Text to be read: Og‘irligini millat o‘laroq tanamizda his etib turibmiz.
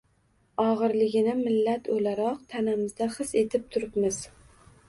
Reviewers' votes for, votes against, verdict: 2, 0, accepted